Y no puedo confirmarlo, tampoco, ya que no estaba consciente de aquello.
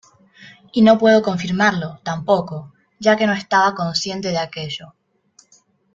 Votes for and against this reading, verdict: 2, 0, accepted